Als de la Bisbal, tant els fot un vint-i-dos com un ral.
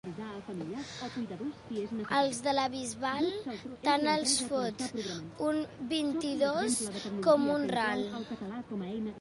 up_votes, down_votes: 0, 2